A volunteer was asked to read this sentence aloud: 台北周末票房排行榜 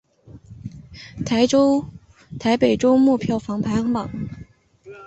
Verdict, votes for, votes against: rejected, 0, 2